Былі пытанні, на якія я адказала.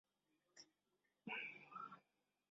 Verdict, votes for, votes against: rejected, 0, 2